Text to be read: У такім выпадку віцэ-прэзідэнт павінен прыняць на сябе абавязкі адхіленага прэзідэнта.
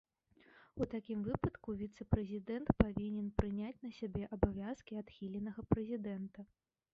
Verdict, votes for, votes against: rejected, 0, 2